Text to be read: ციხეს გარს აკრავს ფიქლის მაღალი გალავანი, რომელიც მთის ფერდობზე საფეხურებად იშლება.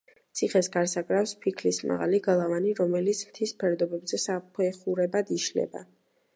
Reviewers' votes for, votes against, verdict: 2, 0, accepted